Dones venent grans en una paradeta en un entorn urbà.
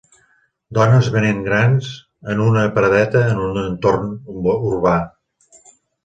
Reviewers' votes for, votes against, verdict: 4, 2, accepted